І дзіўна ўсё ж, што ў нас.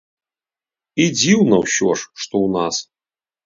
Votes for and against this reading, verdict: 3, 0, accepted